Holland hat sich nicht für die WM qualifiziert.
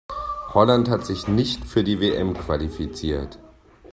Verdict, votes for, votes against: accepted, 2, 0